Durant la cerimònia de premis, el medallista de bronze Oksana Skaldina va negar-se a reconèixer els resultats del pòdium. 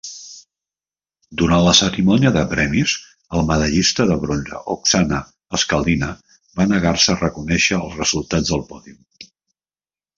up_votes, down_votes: 2, 0